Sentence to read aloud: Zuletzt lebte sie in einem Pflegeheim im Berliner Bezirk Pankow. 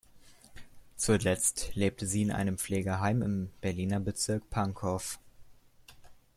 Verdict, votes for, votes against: accepted, 2, 0